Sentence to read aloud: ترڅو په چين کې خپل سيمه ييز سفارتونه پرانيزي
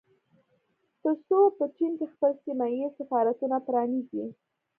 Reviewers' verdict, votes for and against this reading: rejected, 1, 2